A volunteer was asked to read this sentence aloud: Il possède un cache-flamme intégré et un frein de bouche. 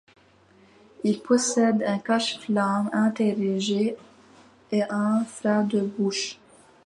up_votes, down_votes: 0, 2